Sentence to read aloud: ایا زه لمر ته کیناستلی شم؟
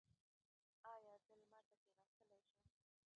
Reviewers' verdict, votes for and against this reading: accepted, 2, 1